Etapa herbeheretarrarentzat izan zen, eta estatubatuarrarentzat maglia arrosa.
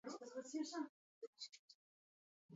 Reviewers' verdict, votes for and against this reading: rejected, 0, 2